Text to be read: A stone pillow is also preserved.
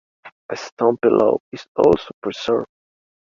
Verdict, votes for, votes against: accepted, 3, 1